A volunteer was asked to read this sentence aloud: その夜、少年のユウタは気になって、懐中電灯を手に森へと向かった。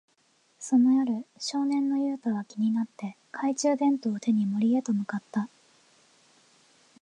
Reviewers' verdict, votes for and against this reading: accepted, 2, 0